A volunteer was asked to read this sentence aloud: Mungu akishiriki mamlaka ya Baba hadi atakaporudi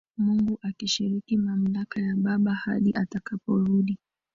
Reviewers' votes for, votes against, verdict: 0, 2, rejected